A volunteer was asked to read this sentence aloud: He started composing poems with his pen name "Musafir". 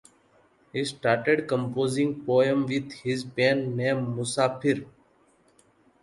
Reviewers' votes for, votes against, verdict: 1, 2, rejected